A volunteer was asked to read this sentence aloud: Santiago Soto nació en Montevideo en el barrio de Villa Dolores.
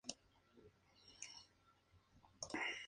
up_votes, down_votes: 0, 2